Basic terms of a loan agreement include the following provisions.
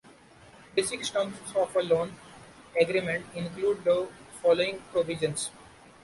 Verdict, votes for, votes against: rejected, 0, 2